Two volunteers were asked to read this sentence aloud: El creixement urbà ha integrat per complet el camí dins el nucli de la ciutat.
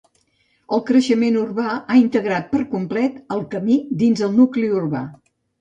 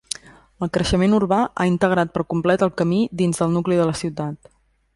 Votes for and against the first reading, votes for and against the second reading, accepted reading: 1, 2, 2, 0, second